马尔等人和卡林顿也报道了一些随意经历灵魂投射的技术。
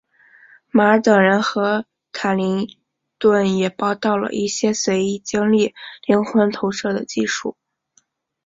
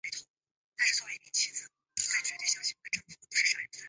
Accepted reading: first